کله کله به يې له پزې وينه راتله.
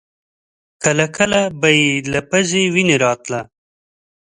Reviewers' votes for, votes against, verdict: 3, 0, accepted